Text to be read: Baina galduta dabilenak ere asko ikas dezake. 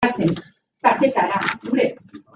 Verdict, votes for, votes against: rejected, 0, 2